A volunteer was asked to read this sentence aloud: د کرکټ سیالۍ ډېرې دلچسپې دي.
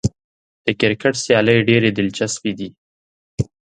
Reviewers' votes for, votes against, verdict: 2, 0, accepted